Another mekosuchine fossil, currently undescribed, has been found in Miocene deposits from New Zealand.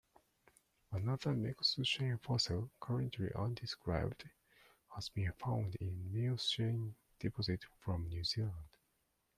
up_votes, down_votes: 1, 2